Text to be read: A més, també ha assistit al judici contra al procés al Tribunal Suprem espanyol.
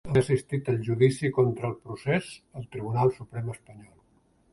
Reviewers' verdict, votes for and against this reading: rejected, 0, 3